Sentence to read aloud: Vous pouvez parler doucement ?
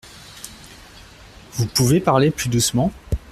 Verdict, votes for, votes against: rejected, 0, 2